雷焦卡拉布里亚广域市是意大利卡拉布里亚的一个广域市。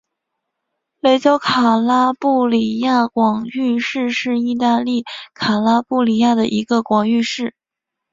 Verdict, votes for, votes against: accepted, 4, 1